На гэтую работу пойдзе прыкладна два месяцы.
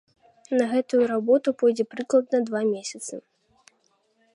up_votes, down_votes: 2, 0